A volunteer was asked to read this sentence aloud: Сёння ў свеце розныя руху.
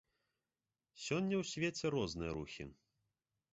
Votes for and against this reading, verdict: 1, 2, rejected